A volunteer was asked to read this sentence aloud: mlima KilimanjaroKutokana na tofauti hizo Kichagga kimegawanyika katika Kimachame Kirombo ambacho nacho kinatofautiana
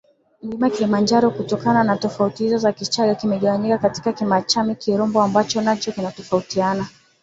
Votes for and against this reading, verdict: 1, 2, rejected